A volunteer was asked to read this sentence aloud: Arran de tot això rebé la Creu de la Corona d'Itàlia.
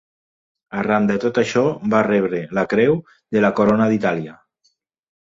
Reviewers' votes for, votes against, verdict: 1, 2, rejected